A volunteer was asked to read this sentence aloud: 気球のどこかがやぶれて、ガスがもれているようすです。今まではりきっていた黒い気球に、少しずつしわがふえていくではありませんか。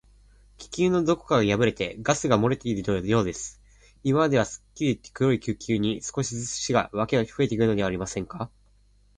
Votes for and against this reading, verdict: 2, 4, rejected